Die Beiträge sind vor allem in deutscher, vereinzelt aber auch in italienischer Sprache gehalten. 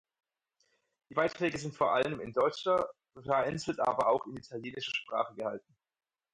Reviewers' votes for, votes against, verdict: 4, 0, accepted